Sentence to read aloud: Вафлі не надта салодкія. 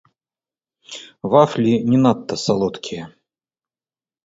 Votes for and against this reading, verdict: 0, 2, rejected